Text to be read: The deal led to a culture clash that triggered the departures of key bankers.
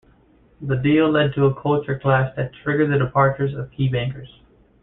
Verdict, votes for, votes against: rejected, 0, 2